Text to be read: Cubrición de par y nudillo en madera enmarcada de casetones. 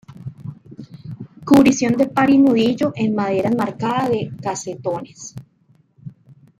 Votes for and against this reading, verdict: 2, 0, accepted